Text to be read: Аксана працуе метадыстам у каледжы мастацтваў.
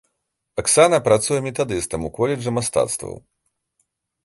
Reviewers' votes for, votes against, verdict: 0, 2, rejected